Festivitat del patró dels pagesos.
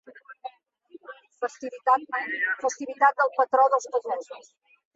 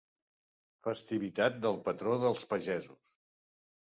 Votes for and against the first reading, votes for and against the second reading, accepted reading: 1, 2, 2, 0, second